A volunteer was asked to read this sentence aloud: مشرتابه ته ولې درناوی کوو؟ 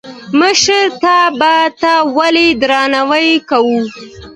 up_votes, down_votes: 2, 0